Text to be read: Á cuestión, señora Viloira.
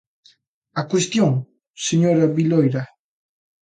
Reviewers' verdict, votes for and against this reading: accepted, 2, 0